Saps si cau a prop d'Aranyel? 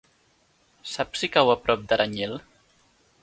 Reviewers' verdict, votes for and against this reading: accepted, 4, 0